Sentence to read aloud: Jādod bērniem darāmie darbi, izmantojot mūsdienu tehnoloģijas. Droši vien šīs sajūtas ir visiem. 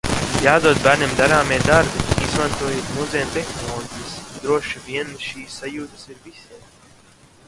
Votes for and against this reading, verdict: 1, 2, rejected